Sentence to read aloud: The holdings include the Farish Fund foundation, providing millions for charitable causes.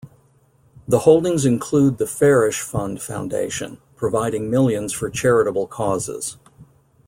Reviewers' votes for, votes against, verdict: 2, 0, accepted